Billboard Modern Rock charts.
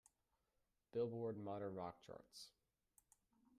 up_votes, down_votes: 2, 1